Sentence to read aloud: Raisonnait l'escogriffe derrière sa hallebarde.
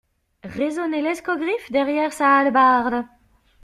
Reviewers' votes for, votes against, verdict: 2, 0, accepted